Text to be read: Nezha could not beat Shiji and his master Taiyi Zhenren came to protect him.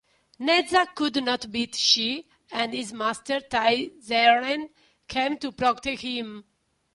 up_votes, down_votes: 2, 1